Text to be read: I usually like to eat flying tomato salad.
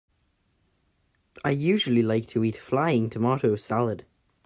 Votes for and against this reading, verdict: 2, 0, accepted